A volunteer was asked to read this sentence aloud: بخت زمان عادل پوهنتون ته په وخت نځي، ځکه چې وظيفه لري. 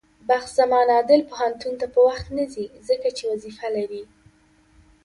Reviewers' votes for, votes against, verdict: 2, 1, accepted